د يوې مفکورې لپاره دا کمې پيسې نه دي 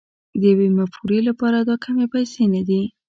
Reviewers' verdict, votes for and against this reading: rejected, 1, 2